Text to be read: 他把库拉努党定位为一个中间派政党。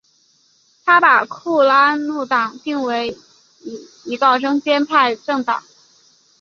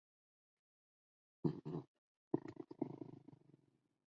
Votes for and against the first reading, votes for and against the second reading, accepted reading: 3, 1, 0, 3, first